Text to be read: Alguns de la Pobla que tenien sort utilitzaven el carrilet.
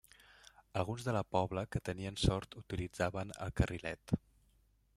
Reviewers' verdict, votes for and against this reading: rejected, 1, 2